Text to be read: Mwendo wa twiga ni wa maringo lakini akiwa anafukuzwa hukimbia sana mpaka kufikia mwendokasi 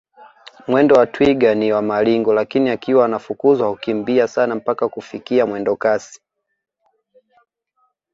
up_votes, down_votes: 2, 0